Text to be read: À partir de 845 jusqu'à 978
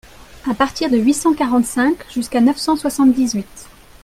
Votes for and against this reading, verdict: 0, 2, rejected